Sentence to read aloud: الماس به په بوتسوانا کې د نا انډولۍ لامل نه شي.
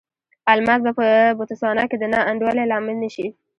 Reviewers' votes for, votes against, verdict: 2, 0, accepted